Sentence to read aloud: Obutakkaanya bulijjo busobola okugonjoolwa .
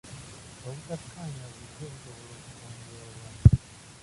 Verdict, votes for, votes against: rejected, 1, 2